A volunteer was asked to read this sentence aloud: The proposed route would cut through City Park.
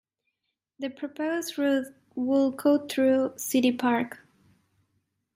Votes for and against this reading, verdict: 2, 0, accepted